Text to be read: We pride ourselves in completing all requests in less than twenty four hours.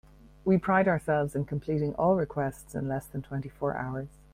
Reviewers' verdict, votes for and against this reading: accepted, 2, 0